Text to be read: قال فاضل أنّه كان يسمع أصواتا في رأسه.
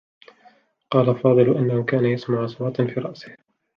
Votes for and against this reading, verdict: 1, 2, rejected